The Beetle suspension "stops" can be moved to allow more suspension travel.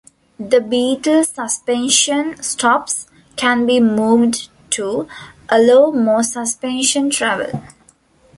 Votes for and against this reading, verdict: 0, 2, rejected